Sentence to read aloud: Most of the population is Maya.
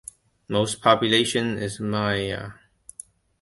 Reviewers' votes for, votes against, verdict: 1, 2, rejected